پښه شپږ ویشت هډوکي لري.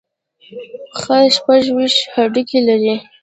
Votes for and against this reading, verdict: 2, 0, accepted